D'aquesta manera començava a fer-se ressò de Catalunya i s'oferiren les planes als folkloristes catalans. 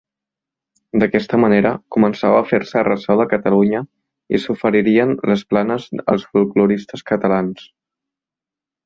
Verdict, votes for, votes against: rejected, 0, 2